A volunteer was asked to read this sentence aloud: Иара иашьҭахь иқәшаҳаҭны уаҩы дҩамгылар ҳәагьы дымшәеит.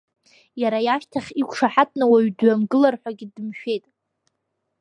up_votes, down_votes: 0, 2